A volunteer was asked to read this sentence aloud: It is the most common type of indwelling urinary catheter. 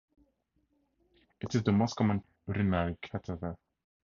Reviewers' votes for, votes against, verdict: 0, 2, rejected